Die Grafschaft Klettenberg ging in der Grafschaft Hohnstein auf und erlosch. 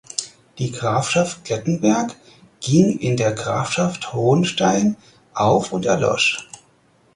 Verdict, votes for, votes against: accepted, 4, 0